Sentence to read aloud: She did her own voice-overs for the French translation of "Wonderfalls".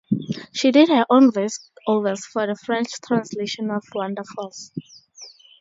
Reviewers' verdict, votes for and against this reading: accepted, 2, 0